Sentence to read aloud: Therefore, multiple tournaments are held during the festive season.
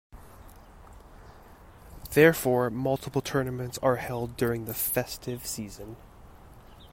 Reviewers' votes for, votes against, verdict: 2, 0, accepted